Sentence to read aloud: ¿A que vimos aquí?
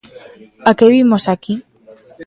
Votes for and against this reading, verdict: 2, 0, accepted